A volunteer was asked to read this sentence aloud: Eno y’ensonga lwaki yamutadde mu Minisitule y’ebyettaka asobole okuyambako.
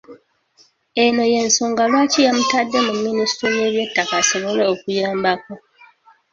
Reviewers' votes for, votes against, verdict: 0, 2, rejected